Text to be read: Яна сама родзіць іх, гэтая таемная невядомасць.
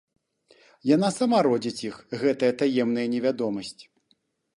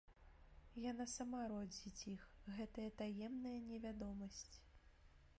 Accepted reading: first